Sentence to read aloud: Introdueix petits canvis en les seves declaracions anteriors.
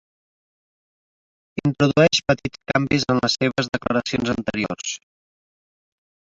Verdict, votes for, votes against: accepted, 2, 1